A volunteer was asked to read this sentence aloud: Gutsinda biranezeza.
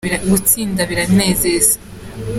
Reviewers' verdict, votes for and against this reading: accepted, 3, 1